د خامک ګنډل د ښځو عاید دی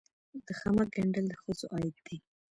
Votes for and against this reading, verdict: 2, 0, accepted